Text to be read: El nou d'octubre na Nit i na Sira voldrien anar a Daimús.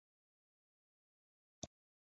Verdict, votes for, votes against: rejected, 1, 3